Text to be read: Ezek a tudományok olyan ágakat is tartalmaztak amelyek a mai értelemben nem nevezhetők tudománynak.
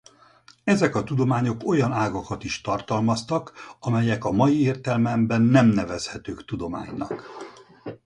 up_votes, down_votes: 0, 4